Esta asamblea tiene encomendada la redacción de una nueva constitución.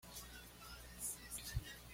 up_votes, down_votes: 1, 2